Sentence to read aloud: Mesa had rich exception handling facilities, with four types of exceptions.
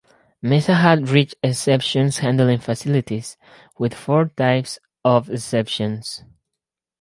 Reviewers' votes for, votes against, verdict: 2, 4, rejected